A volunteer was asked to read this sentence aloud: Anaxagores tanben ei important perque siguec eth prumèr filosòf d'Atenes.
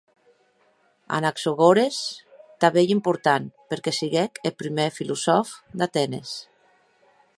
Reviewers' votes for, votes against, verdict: 3, 0, accepted